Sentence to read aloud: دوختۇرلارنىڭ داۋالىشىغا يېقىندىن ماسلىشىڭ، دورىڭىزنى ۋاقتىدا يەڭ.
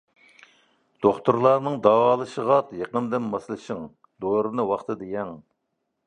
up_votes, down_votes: 0, 2